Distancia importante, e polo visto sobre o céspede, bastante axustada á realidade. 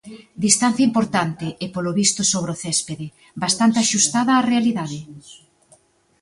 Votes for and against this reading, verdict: 2, 0, accepted